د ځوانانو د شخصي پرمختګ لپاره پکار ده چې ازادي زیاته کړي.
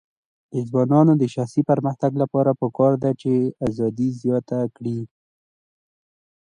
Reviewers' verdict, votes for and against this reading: accepted, 2, 0